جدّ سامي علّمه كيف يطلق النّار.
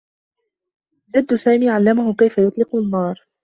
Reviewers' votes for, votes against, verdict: 2, 0, accepted